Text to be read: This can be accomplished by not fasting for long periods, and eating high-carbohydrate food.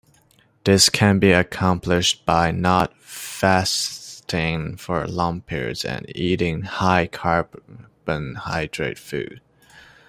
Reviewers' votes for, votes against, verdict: 0, 2, rejected